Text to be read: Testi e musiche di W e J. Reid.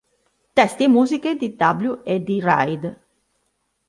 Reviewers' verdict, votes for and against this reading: rejected, 1, 2